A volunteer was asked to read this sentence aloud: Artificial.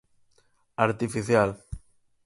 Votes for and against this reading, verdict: 4, 0, accepted